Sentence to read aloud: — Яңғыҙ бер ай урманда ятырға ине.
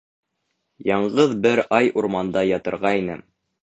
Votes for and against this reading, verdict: 2, 0, accepted